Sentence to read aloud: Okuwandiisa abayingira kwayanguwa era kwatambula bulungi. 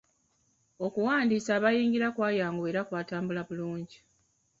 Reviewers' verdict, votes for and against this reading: accepted, 2, 1